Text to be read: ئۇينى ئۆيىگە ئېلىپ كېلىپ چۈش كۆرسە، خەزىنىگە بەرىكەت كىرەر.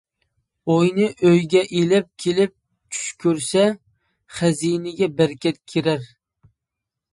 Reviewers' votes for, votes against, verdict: 1, 2, rejected